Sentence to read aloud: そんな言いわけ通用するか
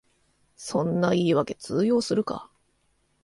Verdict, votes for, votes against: accepted, 2, 0